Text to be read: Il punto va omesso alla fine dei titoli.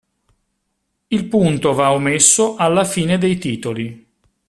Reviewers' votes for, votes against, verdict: 2, 0, accepted